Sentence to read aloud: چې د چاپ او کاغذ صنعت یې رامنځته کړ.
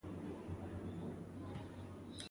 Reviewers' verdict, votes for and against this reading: rejected, 1, 2